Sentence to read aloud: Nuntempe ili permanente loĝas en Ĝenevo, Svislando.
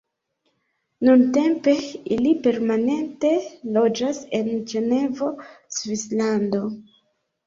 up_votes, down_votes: 1, 2